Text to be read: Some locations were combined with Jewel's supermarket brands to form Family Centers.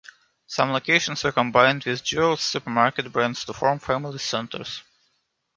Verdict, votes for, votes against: accepted, 3, 0